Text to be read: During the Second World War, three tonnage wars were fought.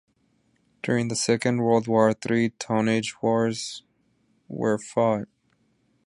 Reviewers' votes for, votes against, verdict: 2, 1, accepted